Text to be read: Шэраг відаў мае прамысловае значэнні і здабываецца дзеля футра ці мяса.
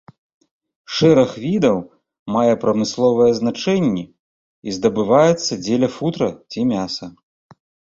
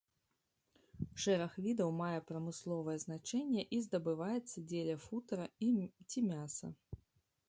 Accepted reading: first